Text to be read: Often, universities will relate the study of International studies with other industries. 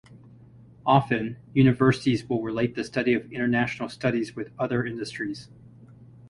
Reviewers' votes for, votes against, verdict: 4, 0, accepted